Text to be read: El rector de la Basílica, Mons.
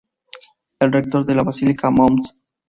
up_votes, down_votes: 2, 0